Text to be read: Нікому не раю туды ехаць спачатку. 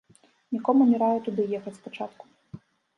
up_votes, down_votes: 0, 2